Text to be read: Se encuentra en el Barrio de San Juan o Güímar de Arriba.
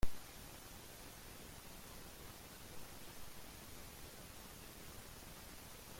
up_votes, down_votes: 0, 2